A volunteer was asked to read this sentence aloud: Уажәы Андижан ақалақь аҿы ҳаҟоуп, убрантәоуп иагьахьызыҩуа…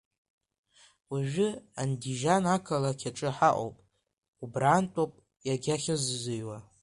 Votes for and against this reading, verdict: 2, 0, accepted